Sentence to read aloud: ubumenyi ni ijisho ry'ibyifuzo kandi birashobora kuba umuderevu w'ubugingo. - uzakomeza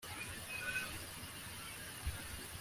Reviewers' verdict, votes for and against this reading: rejected, 0, 2